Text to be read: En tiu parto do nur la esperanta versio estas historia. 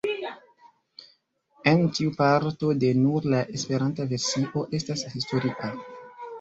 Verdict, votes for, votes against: rejected, 1, 3